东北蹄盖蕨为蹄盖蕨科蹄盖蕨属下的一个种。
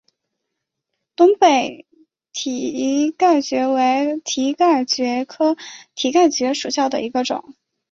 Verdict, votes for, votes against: accepted, 2, 0